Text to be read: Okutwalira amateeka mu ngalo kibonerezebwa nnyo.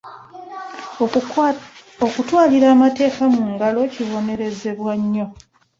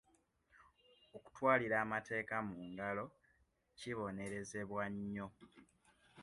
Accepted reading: second